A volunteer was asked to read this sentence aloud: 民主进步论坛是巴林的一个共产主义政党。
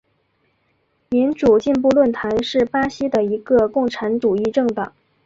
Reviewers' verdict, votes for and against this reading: rejected, 0, 2